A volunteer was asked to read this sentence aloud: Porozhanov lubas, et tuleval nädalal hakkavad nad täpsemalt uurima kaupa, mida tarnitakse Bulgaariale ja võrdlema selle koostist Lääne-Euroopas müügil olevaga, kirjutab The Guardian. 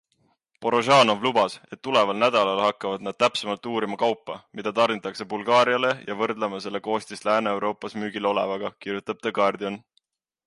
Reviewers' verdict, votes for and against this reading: accepted, 2, 0